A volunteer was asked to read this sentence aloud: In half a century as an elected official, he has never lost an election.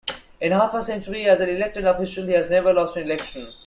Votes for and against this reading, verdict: 2, 1, accepted